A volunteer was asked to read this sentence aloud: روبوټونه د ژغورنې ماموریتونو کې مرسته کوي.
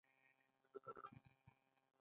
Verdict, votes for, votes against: rejected, 0, 2